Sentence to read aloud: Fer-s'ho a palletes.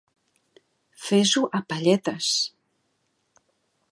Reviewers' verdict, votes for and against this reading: accepted, 2, 1